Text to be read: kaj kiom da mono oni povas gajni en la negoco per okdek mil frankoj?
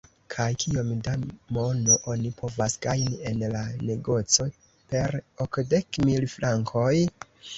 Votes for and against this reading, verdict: 2, 0, accepted